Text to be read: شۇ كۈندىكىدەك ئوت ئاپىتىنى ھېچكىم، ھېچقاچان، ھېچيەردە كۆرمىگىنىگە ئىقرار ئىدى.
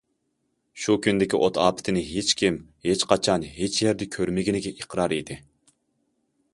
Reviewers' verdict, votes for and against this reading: rejected, 0, 2